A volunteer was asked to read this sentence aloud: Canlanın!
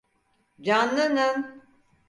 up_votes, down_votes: 4, 0